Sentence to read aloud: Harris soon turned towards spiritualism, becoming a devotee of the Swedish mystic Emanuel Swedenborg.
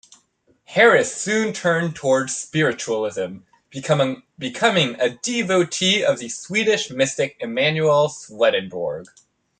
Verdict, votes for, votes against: rejected, 1, 2